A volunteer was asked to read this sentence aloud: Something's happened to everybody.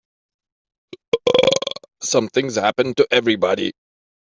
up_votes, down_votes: 0, 3